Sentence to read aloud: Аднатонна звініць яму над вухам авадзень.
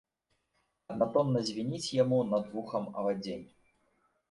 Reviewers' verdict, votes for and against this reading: rejected, 1, 2